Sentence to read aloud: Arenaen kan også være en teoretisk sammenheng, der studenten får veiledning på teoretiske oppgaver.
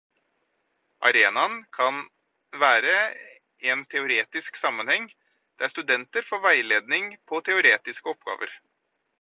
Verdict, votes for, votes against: rejected, 0, 4